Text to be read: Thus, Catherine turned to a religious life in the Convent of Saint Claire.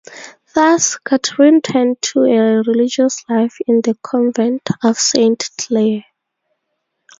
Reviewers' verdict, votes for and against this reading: rejected, 0, 2